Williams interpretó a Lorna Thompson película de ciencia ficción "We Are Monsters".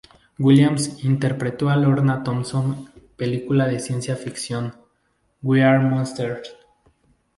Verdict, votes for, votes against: accepted, 2, 0